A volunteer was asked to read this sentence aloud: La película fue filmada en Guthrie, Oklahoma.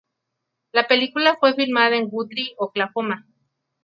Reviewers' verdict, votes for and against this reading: accepted, 2, 0